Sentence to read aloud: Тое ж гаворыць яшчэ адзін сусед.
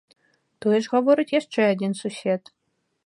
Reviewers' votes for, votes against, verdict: 2, 0, accepted